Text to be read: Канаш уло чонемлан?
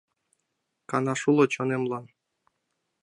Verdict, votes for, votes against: accepted, 2, 0